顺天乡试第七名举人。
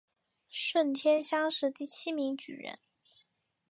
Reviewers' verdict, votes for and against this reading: accepted, 3, 0